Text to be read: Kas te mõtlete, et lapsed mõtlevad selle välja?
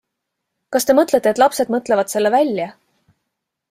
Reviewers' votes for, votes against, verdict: 2, 0, accepted